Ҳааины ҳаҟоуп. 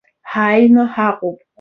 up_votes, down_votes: 2, 0